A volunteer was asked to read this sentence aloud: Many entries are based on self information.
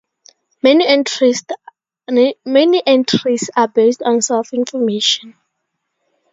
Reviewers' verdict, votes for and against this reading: rejected, 2, 4